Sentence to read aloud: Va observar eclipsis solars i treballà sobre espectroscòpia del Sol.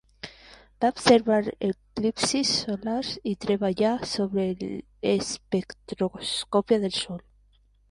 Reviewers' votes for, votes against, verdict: 1, 2, rejected